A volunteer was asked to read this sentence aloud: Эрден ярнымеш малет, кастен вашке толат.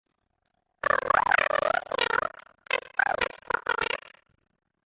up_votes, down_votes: 0, 2